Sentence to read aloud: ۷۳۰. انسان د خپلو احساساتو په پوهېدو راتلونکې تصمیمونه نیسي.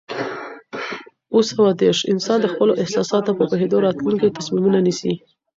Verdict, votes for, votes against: rejected, 0, 2